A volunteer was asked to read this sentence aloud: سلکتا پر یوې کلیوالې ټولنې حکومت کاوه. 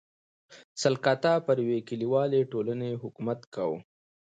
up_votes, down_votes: 2, 0